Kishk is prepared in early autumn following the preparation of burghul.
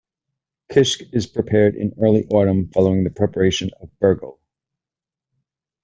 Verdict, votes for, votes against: accepted, 2, 0